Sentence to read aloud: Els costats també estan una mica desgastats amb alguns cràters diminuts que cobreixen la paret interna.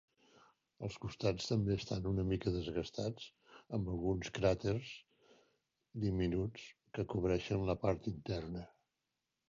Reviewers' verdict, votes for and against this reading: rejected, 0, 2